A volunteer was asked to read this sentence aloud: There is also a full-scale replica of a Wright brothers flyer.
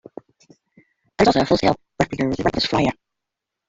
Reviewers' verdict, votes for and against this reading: rejected, 1, 2